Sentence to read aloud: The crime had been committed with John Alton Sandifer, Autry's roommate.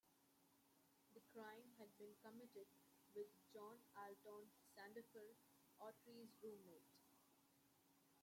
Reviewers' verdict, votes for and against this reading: rejected, 1, 2